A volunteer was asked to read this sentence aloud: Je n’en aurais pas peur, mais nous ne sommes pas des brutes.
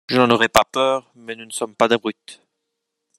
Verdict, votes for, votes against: rejected, 1, 2